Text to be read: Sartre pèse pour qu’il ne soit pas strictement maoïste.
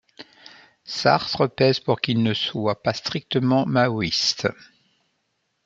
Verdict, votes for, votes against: accepted, 2, 0